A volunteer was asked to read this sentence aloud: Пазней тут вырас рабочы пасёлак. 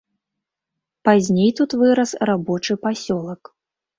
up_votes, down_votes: 3, 0